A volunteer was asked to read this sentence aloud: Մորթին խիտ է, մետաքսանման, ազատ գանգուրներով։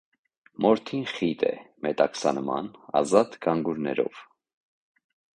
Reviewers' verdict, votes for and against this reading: accepted, 2, 0